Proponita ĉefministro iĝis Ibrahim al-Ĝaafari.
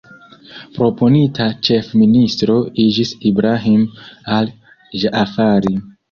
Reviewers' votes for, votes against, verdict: 0, 2, rejected